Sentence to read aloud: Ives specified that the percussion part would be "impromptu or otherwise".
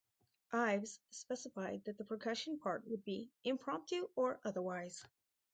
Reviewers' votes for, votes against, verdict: 4, 0, accepted